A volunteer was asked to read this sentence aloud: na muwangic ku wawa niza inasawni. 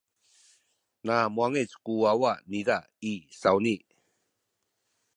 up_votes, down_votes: 0, 2